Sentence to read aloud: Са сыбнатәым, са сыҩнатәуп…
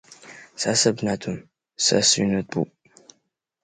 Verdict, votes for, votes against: rejected, 0, 3